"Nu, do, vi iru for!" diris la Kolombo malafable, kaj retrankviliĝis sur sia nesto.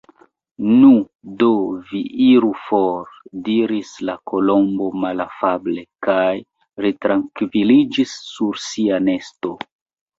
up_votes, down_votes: 2, 0